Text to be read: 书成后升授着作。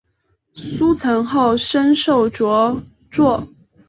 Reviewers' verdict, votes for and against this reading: accepted, 2, 0